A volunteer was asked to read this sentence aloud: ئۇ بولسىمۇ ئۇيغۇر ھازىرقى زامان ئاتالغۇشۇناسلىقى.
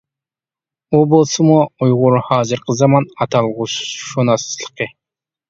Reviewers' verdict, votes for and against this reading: accepted, 2, 1